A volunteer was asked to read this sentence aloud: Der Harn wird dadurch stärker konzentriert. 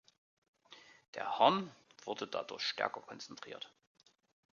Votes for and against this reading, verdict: 0, 2, rejected